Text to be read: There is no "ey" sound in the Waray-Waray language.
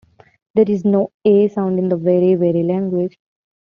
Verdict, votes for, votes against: accepted, 2, 0